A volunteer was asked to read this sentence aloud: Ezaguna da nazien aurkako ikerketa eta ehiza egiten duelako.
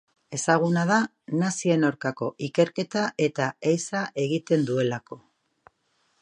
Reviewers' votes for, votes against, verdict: 2, 0, accepted